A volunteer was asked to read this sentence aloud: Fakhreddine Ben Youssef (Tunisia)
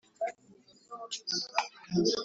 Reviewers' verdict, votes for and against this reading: rejected, 1, 2